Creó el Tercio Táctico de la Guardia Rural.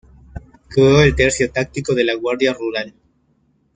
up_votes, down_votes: 1, 2